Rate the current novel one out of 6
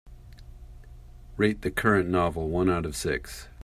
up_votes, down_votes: 0, 2